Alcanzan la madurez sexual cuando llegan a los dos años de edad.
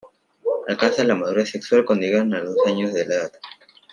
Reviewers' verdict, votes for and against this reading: accepted, 2, 1